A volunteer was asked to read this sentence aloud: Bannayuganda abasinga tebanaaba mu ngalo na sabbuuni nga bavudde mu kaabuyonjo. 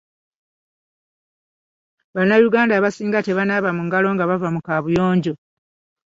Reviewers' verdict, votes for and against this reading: rejected, 1, 2